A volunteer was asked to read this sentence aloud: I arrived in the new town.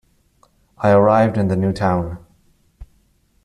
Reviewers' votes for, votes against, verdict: 2, 0, accepted